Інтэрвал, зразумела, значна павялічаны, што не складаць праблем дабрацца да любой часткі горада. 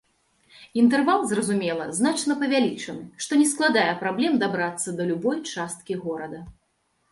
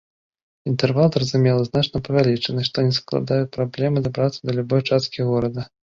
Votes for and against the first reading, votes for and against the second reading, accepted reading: 0, 2, 2, 1, second